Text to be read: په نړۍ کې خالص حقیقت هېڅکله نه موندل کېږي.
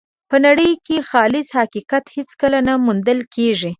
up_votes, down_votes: 2, 0